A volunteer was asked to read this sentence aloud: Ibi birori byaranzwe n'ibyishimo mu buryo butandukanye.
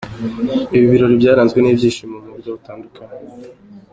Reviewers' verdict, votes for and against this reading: accepted, 2, 1